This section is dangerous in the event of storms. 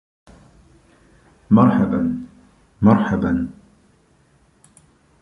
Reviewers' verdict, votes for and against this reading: rejected, 0, 2